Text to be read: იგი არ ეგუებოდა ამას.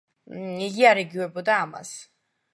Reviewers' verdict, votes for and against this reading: rejected, 0, 2